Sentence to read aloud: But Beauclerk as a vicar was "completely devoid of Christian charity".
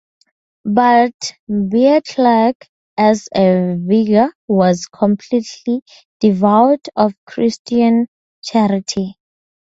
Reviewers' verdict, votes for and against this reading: rejected, 0, 4